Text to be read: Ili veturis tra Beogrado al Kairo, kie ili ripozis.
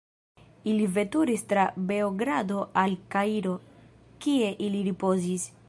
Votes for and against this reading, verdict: 1, 2, rejected